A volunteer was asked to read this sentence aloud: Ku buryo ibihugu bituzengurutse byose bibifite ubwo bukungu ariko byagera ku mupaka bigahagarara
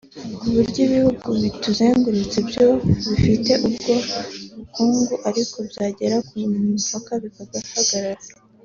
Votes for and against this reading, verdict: 3, 2, accepted